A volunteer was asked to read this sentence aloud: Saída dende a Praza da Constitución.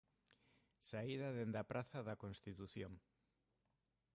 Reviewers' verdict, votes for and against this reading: rejected, 1, 2